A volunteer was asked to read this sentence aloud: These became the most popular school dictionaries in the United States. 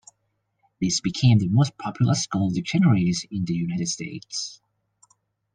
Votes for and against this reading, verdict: 2, 0, accepted